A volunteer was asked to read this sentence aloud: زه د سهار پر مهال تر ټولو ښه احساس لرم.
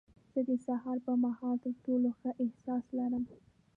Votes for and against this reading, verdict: 1, 2, rejected